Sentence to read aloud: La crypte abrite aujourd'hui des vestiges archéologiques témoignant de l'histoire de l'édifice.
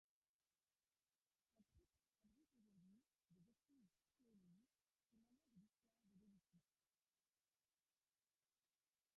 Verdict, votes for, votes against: rejected, 0, 2